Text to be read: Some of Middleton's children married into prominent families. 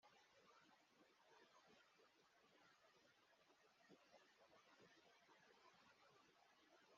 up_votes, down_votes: 0, 2